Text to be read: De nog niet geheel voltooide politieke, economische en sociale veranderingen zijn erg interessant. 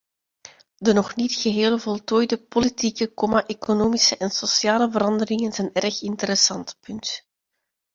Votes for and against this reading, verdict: 0, 2, rejected